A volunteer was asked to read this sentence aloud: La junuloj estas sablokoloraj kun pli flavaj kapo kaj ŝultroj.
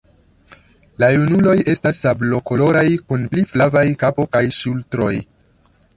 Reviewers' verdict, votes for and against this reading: accepted, 2, 0